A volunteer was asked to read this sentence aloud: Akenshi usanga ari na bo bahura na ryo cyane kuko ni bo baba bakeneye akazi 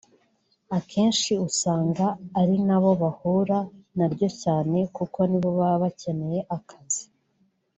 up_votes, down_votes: 4, 0